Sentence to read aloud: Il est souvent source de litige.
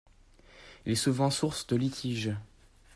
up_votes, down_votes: 2, 0